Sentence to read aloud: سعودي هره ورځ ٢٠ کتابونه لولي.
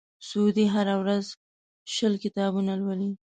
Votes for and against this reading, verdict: 0, 2, rejected